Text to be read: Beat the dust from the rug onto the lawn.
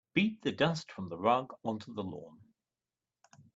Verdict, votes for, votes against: accepted, 2, 0